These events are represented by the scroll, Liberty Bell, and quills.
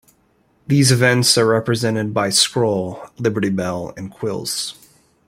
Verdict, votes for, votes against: accepted, 2, 1